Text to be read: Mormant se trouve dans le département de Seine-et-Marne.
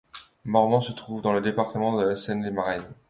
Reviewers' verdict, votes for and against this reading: rejected, 0, 2